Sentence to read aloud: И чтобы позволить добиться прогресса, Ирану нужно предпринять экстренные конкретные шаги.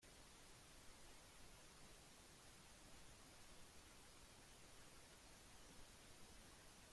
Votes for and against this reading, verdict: 0, 2, rejected